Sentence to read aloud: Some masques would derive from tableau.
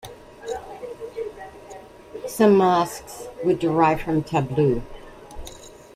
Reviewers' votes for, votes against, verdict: 2, 0, accepted